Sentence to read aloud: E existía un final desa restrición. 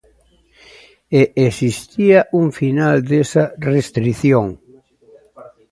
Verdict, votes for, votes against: rejected, 1, 2